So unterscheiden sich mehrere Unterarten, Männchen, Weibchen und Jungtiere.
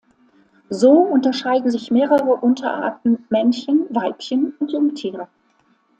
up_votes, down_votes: 2, 0